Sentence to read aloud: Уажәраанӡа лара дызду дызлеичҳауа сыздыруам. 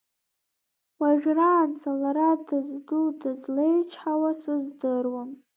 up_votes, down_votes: 0, 2